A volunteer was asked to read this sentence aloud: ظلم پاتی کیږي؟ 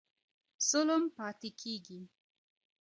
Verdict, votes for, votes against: accepted, 2, 1